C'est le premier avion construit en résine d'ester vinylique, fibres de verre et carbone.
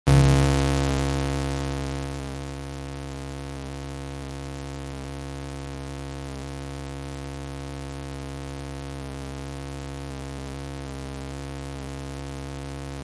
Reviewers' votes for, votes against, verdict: 0, 2, rejected